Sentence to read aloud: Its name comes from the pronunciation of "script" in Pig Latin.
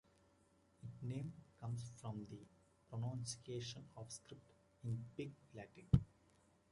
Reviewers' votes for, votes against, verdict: 0, 2, rejected